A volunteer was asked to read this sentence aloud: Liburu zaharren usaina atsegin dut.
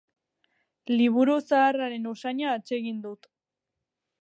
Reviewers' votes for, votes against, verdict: 4, 2, accepted